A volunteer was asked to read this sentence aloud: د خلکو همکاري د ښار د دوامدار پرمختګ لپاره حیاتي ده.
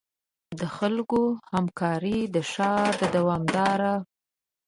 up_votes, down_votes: 1, 2